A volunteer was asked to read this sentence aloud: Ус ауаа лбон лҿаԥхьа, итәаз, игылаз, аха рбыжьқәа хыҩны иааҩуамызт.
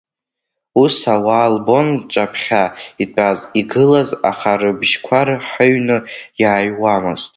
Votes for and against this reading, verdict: 0, 2, rejected